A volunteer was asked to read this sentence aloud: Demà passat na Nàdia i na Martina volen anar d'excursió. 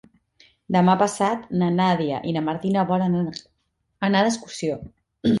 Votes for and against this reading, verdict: 0, 3, rejected